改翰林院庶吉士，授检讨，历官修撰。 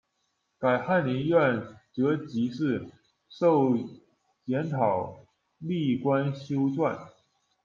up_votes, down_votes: 0, 2